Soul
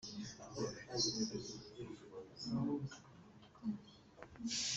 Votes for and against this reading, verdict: 0, 2, rejected